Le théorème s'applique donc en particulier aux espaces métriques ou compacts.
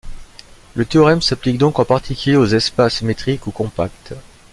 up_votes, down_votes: 3, 0